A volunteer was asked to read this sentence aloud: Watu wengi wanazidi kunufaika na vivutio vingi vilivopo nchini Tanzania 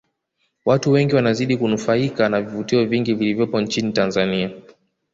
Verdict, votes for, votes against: accepted, 2, 0